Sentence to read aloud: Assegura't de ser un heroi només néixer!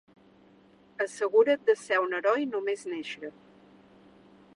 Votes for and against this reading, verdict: 3, 0, accepted